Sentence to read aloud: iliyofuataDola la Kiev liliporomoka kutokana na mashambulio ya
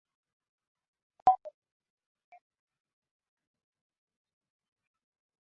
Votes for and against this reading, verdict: 0, 2, rejected